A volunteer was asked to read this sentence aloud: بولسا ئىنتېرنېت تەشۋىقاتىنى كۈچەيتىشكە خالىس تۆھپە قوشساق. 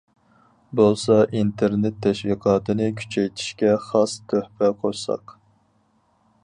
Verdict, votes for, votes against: rejected, 2, 2